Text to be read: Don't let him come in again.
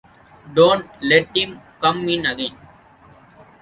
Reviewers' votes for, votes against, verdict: 2, 1, accepted